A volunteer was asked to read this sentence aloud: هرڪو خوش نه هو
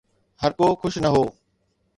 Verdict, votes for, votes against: accepted, 2, 0